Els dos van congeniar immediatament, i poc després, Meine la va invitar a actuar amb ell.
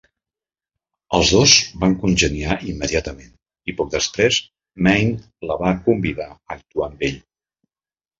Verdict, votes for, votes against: rejected, 0, 2